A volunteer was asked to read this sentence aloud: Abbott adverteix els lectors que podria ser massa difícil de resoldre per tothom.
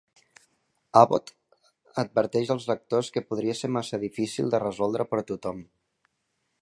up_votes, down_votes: 3, 0